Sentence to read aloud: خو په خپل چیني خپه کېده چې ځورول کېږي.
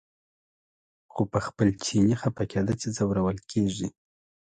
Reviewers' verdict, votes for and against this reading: accepted, 2, 0